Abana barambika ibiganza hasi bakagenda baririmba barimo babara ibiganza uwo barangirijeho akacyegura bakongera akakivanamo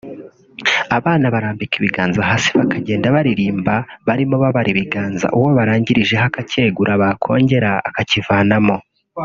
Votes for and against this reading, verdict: 1, 2, rejected